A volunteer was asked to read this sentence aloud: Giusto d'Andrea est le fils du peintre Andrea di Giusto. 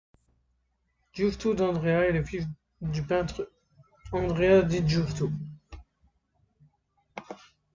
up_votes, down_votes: 2, 0